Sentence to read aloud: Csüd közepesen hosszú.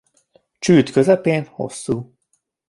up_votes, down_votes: 0, 2